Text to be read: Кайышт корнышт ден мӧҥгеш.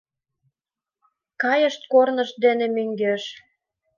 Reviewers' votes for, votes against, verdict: 3, 4, rejected